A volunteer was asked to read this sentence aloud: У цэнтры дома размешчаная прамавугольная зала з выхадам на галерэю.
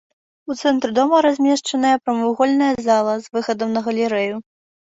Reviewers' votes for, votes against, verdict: 2, 0, accepted